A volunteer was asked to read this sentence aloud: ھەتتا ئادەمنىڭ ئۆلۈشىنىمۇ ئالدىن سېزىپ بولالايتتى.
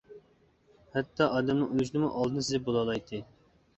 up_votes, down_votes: 0, 2